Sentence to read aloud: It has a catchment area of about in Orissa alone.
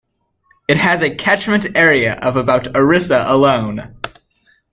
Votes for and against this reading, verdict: 0, 2, rejected